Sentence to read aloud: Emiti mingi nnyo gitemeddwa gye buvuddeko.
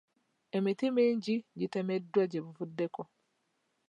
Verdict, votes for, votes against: rejected, 0, 2